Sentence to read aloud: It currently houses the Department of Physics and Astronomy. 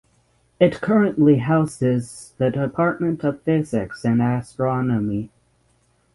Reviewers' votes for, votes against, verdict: 6, 0, accepted